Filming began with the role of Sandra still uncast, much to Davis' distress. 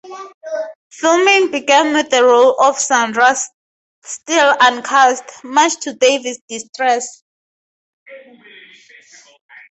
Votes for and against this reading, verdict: 0, 2, rejected